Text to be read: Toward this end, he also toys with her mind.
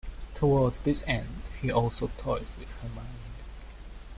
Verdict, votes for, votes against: accepted, 2, 0